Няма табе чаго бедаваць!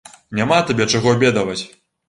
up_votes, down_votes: 1, 2